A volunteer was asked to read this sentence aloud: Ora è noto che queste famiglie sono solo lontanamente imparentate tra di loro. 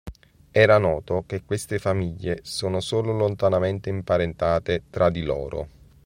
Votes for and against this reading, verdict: 1, 2, rejected